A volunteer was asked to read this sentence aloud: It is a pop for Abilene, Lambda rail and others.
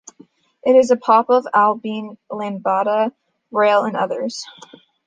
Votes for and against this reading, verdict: 0, 2, rejected